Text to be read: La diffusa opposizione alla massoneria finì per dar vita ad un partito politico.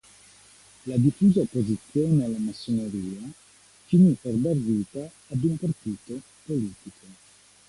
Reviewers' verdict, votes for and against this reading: rejected, 1, 2